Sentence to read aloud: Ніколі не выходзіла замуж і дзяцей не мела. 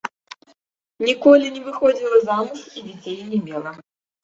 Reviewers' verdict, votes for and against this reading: rejected, 1, 2